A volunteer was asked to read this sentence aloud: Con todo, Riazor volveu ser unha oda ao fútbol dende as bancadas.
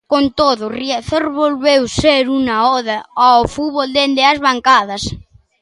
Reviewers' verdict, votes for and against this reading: rejected, 0, 2